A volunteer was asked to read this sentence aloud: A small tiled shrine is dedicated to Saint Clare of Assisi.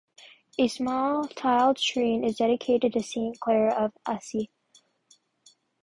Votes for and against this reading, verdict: 0, 2, rejected